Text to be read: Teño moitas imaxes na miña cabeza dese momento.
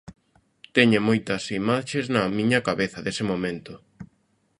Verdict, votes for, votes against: accepted, 3, 1